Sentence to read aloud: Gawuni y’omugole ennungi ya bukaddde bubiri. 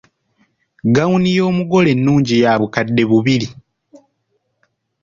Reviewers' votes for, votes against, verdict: 2, 0, accepted